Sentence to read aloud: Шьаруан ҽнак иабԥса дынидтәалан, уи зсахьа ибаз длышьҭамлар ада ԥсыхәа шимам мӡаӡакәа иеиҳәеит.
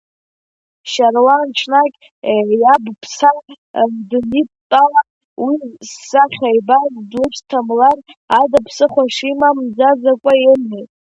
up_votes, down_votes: 0, 2